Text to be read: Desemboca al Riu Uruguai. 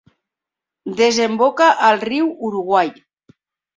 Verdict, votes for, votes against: accepted, 2, 0